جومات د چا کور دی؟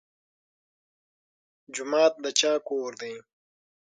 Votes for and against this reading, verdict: 6, 3, accepted